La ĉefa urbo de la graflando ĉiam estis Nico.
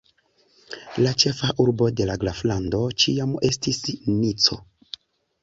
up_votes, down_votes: 2, 0